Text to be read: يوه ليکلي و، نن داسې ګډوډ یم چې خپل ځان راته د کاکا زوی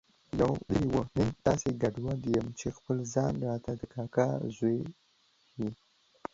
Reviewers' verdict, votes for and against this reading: rejected, 1, 2